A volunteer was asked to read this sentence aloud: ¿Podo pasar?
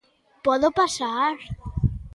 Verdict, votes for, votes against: accepted, 2, 0